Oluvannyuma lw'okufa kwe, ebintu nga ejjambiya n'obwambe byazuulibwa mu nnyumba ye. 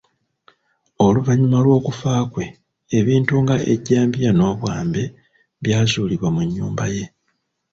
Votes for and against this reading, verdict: 0, 2, rejected